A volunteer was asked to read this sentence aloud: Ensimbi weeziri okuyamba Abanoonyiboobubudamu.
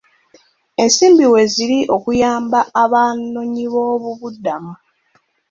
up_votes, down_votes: 2, 0